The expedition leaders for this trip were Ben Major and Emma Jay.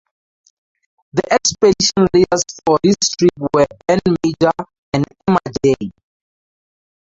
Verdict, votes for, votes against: rejected, 0, 2